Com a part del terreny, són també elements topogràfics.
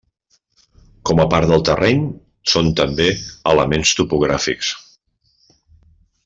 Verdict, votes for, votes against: accepted, 3, 0